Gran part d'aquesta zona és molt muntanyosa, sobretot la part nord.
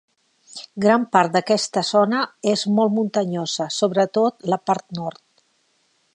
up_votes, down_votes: 3, 1